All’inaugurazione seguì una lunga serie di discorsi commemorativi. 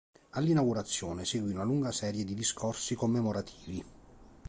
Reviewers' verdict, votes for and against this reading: accepted, 2, 0